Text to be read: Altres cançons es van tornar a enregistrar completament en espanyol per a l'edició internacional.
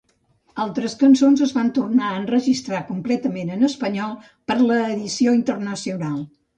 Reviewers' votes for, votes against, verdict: 0, 2, rejected